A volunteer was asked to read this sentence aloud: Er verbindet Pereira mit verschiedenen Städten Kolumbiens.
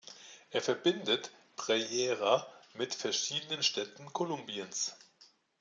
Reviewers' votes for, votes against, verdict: 1, 2, rejected